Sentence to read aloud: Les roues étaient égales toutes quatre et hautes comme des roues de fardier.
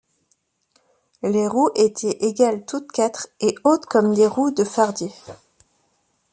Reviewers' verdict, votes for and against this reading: rejected, 1, 2